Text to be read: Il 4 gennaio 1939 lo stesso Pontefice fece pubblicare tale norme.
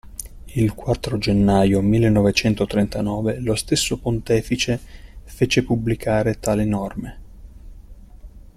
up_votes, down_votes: 0, 2